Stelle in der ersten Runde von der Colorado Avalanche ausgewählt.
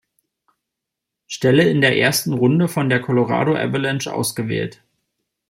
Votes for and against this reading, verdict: 2, 0, accepted